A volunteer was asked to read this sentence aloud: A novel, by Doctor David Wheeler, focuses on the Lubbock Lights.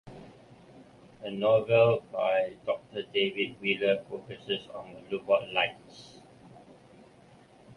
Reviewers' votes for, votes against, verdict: 1, 2, rejected